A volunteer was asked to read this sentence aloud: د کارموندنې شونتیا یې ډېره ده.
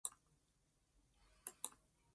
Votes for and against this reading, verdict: 1, 2, rejected